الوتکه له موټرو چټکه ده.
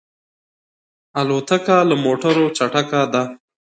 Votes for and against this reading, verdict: 2, 0, accepted